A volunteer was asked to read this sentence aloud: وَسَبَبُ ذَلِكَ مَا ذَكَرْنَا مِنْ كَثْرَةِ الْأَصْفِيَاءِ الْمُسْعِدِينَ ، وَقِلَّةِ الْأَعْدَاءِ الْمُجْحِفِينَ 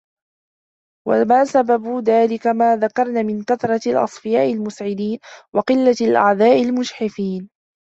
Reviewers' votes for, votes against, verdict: 1, 2, rejected